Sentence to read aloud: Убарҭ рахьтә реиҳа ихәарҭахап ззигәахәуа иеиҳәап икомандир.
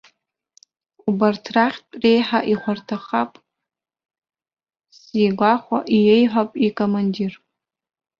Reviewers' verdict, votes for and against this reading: rejected, 0, 2